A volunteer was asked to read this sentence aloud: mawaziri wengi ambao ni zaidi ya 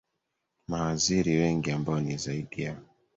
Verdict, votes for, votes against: accepted, 2, 1